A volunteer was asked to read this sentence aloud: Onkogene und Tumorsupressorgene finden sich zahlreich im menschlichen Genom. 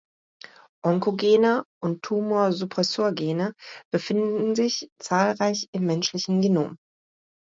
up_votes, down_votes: 0, 2